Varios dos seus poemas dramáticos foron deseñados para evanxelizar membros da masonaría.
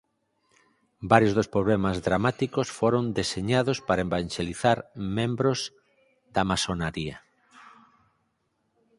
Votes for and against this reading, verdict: 0, 4, rejected